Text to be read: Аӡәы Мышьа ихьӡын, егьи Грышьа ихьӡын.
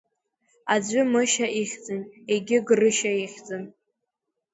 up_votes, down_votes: 2, 0